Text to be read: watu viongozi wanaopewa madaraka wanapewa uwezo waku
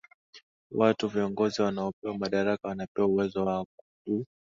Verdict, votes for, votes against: rejected, 2, 2